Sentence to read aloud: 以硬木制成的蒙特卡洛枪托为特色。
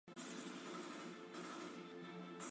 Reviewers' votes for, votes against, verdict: 0, 2, rejected